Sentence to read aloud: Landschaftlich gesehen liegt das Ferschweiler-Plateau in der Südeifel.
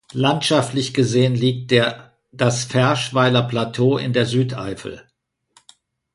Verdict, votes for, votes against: rejected, 0, 2